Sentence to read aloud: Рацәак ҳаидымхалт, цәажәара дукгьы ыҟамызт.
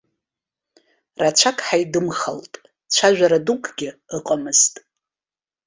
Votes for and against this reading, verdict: 2, 0, accepted